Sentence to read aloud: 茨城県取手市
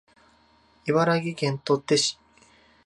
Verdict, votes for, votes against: rejected, 1, 2